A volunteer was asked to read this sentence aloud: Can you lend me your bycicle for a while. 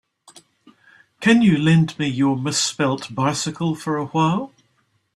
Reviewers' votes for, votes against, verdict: 0, 3, rejected